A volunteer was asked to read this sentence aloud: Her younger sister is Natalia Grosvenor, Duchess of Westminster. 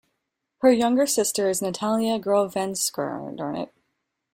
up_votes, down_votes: 0, 2